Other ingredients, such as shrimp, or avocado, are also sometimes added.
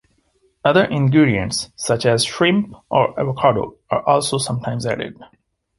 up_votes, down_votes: 2, 1